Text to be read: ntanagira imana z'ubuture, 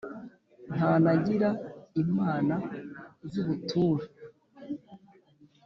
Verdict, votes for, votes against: accepted, 3, 0